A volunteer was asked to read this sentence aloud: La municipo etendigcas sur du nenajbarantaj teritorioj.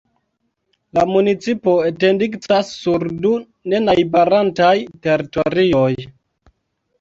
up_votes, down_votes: 0, 2